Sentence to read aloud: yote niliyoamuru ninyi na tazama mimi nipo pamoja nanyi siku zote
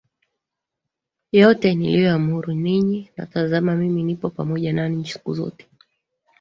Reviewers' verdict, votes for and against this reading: accepted, 2, 1